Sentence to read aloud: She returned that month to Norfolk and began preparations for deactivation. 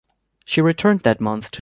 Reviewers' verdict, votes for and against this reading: rejected, 1, 2